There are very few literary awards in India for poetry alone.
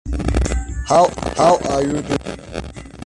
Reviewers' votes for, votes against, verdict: 0, 2, rejected